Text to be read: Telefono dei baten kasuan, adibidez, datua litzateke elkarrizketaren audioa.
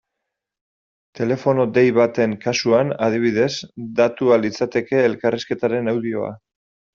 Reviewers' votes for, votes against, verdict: 2, 1, accepted